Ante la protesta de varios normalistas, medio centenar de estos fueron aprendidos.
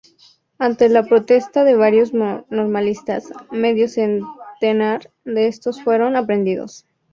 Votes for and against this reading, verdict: 2, 0, accepted